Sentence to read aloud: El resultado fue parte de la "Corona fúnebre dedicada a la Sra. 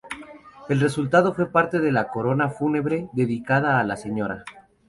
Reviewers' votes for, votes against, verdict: 2, 0, accepted